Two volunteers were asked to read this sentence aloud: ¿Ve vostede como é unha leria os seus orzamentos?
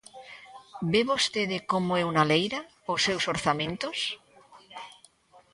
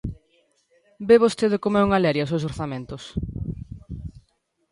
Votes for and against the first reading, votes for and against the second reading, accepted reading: 1, 2, 2, 0, second